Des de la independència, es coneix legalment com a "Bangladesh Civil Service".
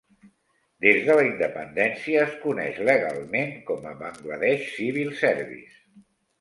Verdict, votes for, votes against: accepted, 2, 0